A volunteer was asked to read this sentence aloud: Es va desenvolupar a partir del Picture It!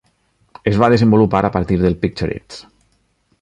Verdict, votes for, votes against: accepted, 3, 0